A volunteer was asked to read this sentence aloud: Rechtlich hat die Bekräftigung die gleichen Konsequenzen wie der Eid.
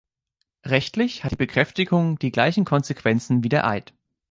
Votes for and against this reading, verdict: 2, 0, accepted